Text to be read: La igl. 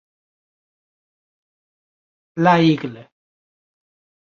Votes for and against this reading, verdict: 0, 2, rejected